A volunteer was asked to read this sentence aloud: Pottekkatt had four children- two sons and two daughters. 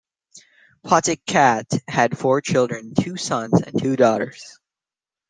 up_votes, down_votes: 2, 0